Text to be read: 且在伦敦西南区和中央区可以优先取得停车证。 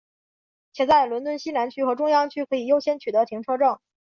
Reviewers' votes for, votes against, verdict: 2, 0, accepted